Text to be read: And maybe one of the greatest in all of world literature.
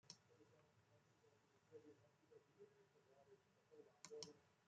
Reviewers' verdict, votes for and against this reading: rejected, 0, 2